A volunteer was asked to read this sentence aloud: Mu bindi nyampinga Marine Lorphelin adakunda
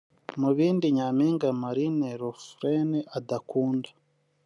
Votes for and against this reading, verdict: 0, 2, rejected